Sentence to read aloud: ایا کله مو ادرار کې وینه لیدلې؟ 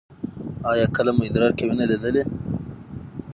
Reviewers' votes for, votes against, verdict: 6, 0, accepted